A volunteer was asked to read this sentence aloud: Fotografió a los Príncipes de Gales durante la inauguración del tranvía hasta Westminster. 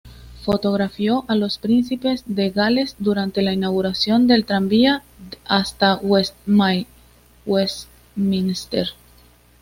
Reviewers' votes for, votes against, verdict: 2, 0, accepted